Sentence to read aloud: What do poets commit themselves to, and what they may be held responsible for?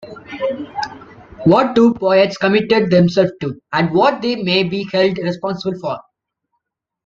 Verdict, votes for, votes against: rejected, 1, 2